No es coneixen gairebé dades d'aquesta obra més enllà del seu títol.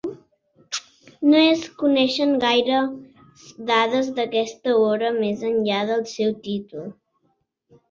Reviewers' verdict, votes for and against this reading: rejected, 1, 2